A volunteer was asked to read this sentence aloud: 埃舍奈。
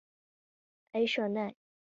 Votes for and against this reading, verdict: 2, 1, accepted